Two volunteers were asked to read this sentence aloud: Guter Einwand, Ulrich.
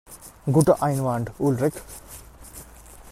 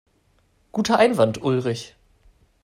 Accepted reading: second